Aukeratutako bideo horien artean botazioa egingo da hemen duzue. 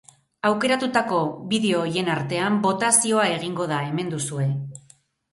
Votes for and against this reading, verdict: 2, 2, rejected